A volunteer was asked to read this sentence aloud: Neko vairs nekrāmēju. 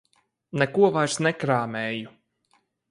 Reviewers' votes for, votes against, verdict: 4, 0, accepted